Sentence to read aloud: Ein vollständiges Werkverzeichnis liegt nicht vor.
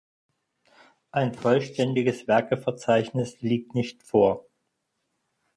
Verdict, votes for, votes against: rejected, 0, 4